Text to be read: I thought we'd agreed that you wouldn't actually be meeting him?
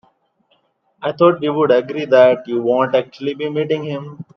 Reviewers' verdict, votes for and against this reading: rejected, 0, 2